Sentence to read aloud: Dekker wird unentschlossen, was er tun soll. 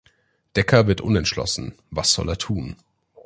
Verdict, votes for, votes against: rejected, 0, 2